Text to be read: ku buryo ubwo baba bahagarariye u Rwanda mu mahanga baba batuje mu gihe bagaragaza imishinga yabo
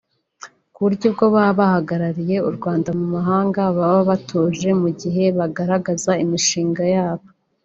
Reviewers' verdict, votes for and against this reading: rejected, 0, 2